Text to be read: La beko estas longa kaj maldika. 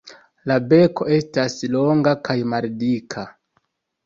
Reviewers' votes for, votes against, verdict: 0, 2, rejected